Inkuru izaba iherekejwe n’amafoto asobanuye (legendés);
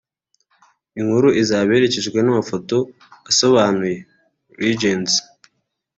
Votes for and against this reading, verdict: 1, 2, rejected